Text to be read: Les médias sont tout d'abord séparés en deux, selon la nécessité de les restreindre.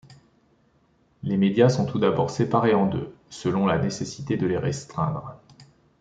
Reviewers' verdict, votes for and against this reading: accepted, 2, 0